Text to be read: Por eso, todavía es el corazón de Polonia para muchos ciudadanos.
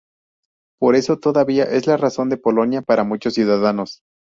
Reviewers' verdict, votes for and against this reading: rejected, 0, 4